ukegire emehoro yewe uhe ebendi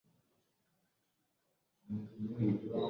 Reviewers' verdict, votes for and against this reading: rejected, 0, 2